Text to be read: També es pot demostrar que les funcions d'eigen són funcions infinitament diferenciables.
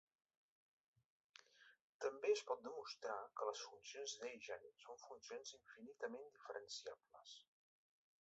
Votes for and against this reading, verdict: 2, 1, accepted